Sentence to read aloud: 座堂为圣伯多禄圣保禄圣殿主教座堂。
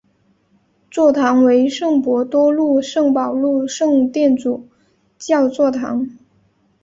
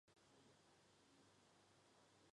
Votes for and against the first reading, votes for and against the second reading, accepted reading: 5, 0, 0, 2, first